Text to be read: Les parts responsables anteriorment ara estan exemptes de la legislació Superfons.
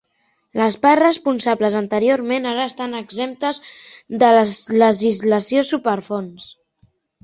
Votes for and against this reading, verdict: 3, 4, rejected